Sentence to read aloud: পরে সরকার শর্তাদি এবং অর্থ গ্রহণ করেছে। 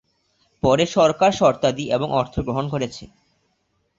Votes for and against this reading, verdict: 2, 0, accepted